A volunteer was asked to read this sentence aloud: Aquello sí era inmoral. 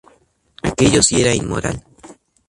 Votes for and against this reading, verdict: 2, 0, accepted